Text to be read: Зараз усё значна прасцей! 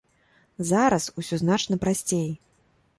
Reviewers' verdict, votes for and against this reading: accepted, 2, 0